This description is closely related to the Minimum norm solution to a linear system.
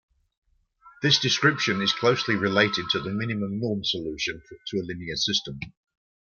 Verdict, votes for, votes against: accepted, 2, 0